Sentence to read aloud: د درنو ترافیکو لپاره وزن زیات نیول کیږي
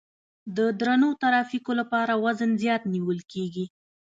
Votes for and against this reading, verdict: 2, 0, accepted